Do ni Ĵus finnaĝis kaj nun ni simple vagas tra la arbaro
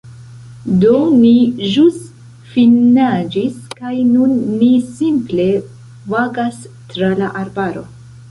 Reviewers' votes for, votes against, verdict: 0, 2, rejected